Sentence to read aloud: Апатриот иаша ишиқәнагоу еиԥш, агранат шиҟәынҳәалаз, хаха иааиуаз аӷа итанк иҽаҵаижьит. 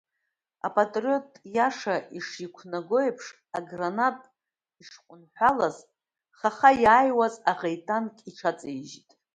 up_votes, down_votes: 1, 2